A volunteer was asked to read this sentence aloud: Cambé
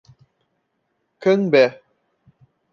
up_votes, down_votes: 2, 0